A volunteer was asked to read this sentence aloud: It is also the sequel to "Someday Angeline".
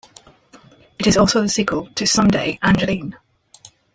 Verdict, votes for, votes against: rejected, 0, 2